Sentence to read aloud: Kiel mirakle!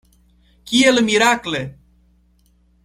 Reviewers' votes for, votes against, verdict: 2, 0, accepted